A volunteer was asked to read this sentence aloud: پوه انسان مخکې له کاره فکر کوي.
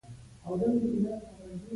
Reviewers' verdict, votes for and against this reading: accepted, 2, 1